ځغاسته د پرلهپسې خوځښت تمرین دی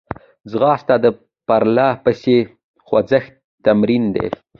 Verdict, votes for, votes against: accepted, 2, 0